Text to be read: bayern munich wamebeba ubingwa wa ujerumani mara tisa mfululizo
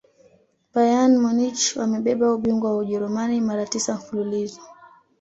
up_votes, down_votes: 2, 0